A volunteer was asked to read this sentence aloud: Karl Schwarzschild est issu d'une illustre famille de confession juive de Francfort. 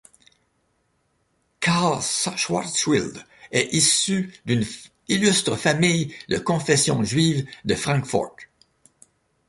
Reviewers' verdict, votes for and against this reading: rejected, 0, 2